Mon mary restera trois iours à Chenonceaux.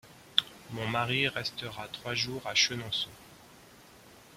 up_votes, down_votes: 1, 2